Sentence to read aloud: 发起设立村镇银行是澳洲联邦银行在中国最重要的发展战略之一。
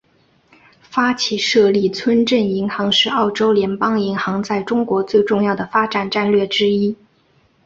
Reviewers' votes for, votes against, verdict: 3, 0, accepted